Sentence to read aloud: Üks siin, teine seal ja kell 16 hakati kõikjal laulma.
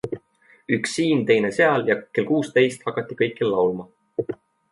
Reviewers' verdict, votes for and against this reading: rejected, 0, 2